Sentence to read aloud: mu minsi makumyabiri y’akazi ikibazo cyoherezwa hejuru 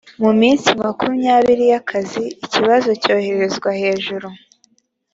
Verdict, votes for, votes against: accepted, 3, 0